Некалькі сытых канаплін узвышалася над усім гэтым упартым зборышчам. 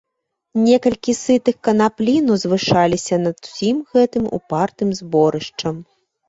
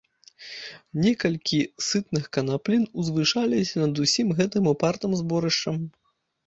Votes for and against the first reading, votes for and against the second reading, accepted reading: 2, 0, 1, 2, first